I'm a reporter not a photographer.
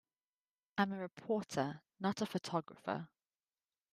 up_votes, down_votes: 2, 1